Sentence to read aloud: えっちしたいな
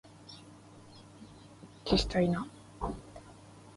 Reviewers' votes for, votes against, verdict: 2, 1, accepted